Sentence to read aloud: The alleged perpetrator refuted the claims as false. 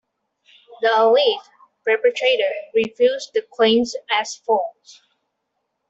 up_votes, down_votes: 0, 2